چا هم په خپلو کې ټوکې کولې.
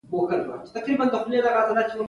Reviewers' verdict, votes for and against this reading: rejected, 0, 2